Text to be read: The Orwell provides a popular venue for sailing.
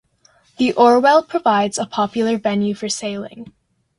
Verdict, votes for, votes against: accepted, 2, 0